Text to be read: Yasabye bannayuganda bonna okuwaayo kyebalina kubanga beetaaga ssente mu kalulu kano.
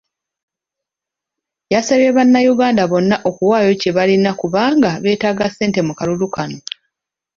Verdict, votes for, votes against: accepted, 2, 0